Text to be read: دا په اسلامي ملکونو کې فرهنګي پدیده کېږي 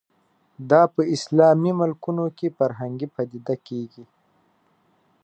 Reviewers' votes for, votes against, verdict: 2, 0, accepted